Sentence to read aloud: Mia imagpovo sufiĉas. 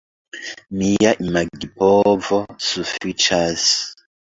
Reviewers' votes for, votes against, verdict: 1, 2, rejected